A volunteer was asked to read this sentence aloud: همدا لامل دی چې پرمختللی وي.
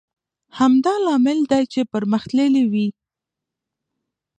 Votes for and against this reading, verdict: 1, 2, rejected